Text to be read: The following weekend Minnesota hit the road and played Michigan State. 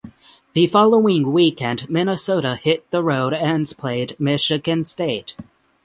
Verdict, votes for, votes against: rejected, 3, 3